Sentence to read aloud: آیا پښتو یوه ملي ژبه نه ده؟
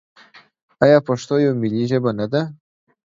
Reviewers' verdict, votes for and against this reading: rejected, 1, 2